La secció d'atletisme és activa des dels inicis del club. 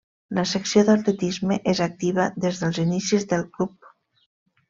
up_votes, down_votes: 2, 0